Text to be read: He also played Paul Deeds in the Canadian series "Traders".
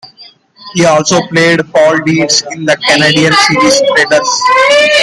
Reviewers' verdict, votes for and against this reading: accepted, 2, 1